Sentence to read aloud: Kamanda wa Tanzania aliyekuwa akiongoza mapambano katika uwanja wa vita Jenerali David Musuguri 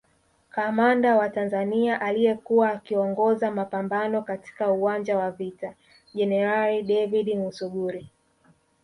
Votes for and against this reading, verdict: 1, 2, rejected